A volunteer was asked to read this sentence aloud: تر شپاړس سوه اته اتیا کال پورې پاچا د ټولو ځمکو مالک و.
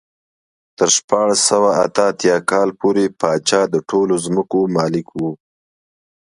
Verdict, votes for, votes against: accepted, 2, 0